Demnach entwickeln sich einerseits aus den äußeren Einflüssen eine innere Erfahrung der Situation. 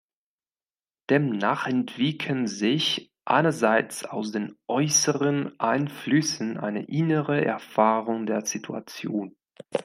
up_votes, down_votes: 2, 0